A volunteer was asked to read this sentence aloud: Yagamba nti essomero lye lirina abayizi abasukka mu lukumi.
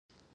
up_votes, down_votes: 0, 2